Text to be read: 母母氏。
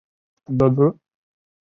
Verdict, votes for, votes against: rejected, 2, 5